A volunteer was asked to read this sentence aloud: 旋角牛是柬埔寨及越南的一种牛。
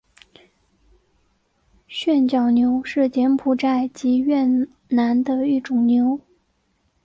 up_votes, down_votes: 2, 0